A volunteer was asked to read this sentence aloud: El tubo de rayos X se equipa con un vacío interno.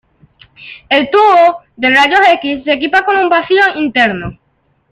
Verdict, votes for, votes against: accepted, 2, 0